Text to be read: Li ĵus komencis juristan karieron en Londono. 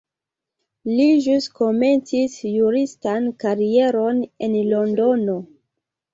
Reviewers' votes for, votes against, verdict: 3, 0, accepted